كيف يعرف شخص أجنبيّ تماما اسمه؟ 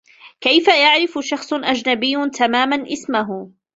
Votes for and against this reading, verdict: 0, 2, rejected